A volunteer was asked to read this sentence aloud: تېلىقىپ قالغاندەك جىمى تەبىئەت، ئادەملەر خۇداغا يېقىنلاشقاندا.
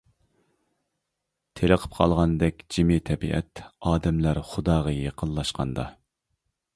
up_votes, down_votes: 2, 0